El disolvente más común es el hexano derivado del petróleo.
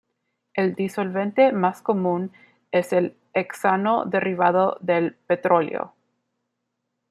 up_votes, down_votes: 1, 2